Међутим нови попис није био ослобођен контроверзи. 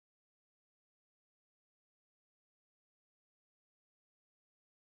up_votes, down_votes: 0, 2